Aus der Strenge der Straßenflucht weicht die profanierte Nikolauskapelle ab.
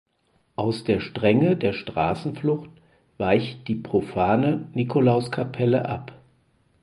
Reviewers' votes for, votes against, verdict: 2, 4, rejected